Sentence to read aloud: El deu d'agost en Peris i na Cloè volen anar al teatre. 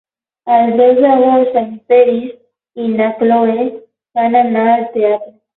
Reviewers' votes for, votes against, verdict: 0, 12, rejected